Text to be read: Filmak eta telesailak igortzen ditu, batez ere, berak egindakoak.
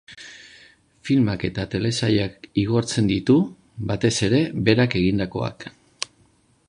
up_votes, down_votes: 2, 0